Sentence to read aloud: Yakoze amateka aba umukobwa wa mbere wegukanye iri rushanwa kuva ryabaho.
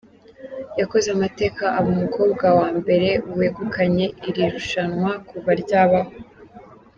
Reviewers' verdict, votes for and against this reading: accepted, 2, 1